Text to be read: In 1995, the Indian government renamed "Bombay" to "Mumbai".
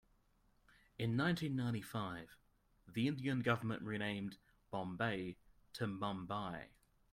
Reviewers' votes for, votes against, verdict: 0, 2, rejected